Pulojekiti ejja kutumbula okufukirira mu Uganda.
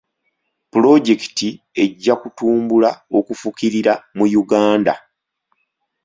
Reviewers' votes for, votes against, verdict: 3, 0, accepted